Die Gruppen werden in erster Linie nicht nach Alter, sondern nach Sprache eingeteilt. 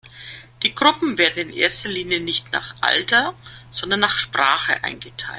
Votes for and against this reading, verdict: 1, 2, rejected